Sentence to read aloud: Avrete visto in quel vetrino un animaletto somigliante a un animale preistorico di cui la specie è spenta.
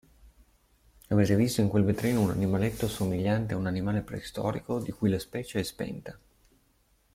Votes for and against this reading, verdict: 1, 2, rejected